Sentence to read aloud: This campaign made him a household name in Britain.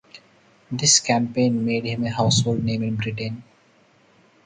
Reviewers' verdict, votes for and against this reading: accepted, 4, 0